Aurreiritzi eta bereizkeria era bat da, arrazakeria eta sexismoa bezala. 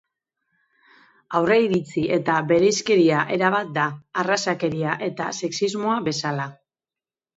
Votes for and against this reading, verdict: 2, 0, accepted